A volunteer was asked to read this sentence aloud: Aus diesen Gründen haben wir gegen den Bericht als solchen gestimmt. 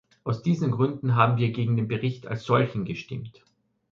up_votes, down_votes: 2, 0